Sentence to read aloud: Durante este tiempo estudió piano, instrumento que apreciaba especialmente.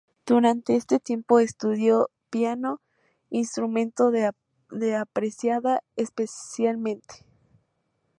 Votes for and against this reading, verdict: 0, 2, rejected